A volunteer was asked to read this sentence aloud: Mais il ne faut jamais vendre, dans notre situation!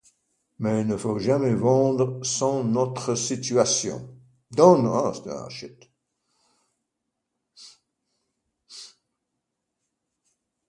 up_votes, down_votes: 0, 2